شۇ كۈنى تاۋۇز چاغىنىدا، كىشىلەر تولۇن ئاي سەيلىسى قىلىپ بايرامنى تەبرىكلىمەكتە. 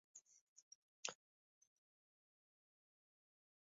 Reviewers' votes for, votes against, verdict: 0, 2, rejected